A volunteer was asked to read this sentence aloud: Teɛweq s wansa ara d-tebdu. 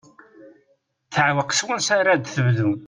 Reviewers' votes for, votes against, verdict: 2, 0, accepted